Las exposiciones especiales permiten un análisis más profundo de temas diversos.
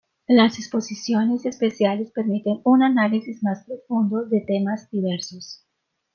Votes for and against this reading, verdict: 2, 0, accepted